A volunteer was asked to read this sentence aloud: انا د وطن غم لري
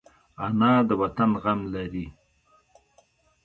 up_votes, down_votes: 1, 2